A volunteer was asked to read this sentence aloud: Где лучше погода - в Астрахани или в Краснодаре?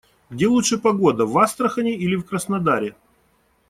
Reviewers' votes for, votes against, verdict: 2, 0, accepted